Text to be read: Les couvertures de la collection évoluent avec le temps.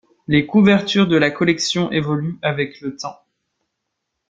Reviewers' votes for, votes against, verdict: 2, 0, accepted